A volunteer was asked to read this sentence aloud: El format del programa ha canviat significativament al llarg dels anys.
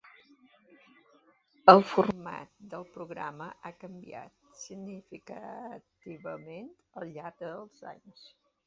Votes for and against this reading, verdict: 1, 2, rejected